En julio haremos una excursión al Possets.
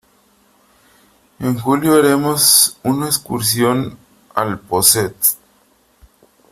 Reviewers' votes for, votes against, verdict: 3, 0, accepted